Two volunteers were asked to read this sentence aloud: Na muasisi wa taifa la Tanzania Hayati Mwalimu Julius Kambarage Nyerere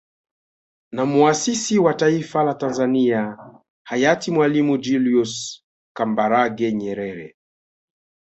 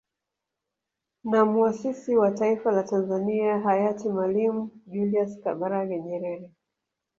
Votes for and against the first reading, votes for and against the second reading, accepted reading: 2, 0, 1, 2, first